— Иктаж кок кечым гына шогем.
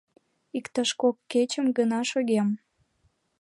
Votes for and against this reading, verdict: 2, 0, accepted